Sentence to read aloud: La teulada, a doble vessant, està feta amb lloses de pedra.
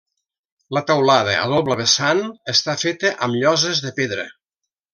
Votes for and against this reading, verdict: 0, 2, rejected